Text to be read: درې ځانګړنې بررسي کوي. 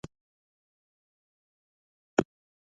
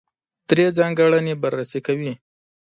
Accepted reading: second